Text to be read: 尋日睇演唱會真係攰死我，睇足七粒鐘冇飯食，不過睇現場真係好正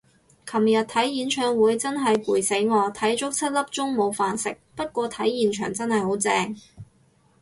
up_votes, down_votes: 2, 2